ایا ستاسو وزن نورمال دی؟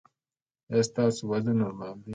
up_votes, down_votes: 2, 1